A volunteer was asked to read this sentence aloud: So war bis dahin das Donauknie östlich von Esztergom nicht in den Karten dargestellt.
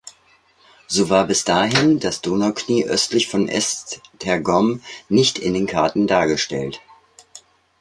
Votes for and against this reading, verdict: 2, 0, accepted